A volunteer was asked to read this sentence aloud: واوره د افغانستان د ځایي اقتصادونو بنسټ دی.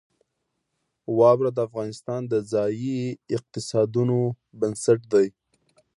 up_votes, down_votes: 2, 0